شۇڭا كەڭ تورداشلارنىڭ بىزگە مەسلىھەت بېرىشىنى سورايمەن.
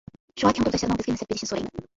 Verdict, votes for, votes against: rejected, 0, 2